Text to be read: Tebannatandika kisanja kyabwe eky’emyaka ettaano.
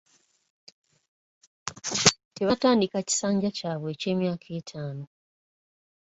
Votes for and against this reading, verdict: 2, 1, accepted